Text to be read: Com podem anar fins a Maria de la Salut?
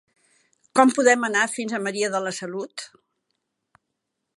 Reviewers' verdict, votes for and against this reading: accepted, 3, 0